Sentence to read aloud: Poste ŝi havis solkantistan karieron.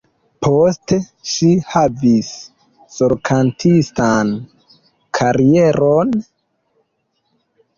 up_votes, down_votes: 1, 2